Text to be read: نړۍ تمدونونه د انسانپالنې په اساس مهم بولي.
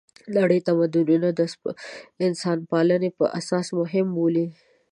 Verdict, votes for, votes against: accepted, 2, 0